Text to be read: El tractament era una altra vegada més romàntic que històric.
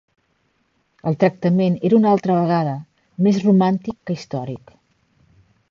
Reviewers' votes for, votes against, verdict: 3, 0, accepted